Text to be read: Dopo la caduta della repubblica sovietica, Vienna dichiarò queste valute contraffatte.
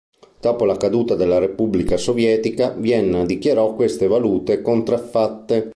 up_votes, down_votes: 2, 0